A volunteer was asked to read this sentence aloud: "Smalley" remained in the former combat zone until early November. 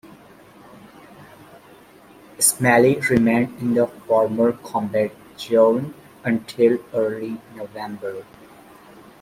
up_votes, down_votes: 1, 2